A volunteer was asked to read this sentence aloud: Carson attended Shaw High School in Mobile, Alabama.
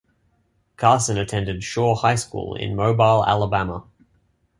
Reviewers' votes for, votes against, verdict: 2, 0, accepted